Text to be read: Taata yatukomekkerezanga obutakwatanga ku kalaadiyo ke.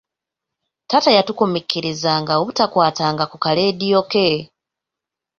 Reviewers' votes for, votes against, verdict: 2, 0, accepted